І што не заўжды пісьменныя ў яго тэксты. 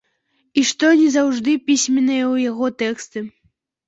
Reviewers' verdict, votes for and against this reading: rejected, 0, 2